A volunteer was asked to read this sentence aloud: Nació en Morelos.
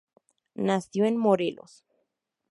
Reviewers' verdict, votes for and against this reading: accepted, 2, 0